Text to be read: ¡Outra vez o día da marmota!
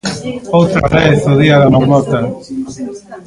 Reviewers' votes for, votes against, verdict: 0, 2, rejected